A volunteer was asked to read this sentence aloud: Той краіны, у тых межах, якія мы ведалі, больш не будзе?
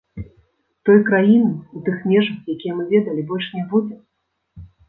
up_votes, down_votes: 1, 2